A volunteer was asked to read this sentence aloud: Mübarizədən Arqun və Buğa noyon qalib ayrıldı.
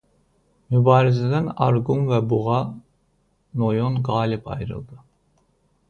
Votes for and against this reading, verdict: 2, 0, accepted